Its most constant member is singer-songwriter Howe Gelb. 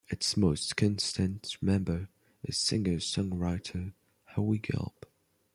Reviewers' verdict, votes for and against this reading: accepted, 2, 1